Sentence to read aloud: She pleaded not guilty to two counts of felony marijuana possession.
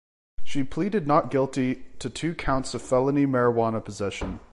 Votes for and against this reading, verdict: 2, 0, accepted